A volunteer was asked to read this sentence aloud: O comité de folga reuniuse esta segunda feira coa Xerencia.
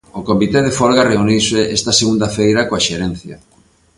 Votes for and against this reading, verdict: 2, 0, accepted